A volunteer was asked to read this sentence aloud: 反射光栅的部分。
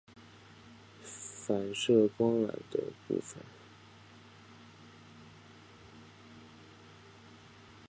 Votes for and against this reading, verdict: 6, 1, accepted